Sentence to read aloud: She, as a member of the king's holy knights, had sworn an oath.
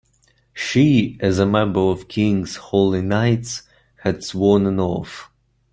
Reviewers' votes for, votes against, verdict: 0, 2, rejected